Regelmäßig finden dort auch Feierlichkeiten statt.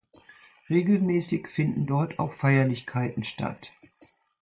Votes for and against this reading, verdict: 2, 0, accepted